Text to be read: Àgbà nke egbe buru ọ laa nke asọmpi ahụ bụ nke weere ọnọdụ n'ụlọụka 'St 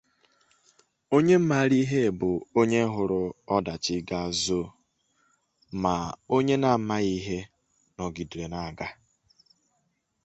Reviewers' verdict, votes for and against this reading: rejected, 0, 2